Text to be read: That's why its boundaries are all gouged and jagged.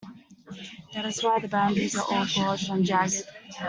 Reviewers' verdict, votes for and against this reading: accepted, 2, 1